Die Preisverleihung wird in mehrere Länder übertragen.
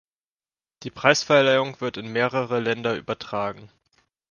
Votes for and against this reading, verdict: 2, 1, accepted